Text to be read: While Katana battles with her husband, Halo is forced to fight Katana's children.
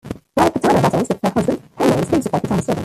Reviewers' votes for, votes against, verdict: 0, 2, rejected